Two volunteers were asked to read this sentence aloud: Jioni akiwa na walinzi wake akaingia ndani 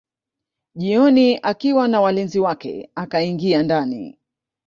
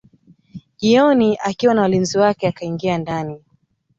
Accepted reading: second